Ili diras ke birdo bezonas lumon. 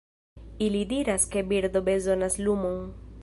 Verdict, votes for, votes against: accepted, 2, 0